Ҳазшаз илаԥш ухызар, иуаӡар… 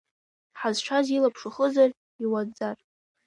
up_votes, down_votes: 1, 2